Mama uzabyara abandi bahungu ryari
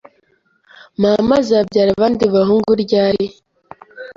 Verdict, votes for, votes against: rejected, 0, 2